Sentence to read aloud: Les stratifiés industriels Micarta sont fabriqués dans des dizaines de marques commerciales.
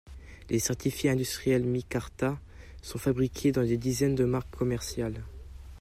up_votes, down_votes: 2, 0